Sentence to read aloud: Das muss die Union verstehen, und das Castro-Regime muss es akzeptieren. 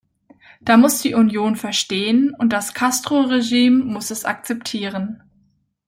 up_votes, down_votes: 1, 2